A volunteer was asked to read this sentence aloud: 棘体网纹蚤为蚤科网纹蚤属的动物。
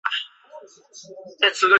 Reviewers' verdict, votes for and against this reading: rejected, 0, 2